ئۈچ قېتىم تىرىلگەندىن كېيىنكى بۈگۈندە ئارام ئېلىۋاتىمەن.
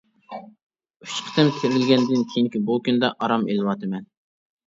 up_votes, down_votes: 0, 2